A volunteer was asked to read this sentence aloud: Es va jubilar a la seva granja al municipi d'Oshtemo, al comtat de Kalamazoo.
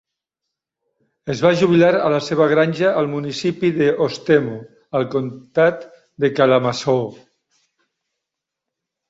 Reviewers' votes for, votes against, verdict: 0, 2, rejected